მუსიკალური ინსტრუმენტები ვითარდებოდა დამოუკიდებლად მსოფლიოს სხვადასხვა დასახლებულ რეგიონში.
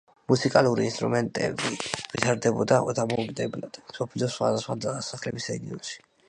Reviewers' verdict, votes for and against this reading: accepted, 2, 1